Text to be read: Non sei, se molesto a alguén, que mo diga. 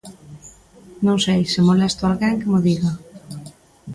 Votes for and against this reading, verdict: 2, 0, accepted